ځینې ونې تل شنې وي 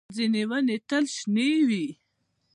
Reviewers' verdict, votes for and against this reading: accepted, 2, 0